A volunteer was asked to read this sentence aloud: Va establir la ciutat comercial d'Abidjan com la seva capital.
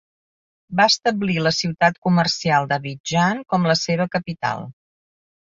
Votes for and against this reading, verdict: 2, 0, accepted